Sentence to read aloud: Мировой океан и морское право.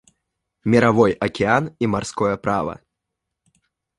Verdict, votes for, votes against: rejected, 0, 2